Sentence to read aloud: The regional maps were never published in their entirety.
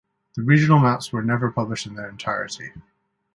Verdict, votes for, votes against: accepted, 2, 0